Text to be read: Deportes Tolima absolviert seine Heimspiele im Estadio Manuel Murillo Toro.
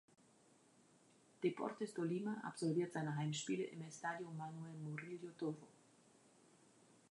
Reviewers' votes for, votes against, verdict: 1, 2, rejected